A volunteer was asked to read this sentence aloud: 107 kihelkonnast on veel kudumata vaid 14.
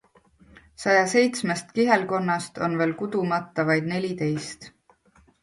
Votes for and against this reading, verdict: 0, 2, rejected